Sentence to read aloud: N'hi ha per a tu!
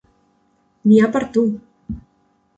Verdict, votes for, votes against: rejected, 0, 2